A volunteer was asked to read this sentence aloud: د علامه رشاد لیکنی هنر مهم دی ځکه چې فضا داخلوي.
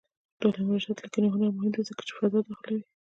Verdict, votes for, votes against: rejected, 1, 2